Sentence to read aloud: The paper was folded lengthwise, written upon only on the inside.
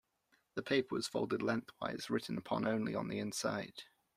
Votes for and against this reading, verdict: 2, 0, accepted